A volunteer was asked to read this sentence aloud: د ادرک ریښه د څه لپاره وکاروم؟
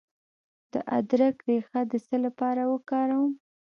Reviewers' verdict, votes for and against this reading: accepted, 2, 0